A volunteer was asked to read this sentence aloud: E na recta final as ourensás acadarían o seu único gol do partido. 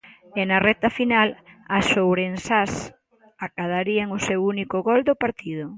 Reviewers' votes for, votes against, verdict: 2, 0, accepted